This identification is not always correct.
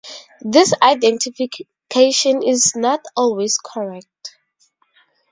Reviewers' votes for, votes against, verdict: 2, 0, accepted